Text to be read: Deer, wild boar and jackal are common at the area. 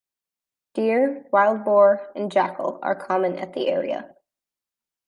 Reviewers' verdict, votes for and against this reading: accepted, 2, 0